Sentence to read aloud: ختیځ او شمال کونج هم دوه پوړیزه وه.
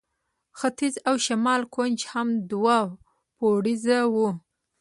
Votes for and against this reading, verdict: 1, 2, rejected